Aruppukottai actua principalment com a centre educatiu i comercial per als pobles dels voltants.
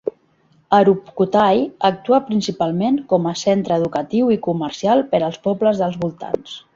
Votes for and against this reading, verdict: 2, 0, accepted